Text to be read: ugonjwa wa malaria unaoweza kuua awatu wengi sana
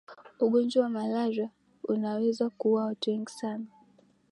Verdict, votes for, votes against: accepted, 6, 1